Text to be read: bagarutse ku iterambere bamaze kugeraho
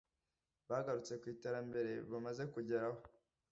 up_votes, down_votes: 2, 0